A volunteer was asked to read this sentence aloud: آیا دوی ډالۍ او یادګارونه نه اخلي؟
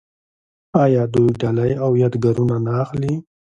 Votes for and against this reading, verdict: 1, 2, rejected